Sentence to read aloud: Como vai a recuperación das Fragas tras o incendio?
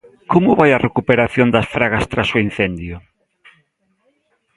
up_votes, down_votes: 2, 0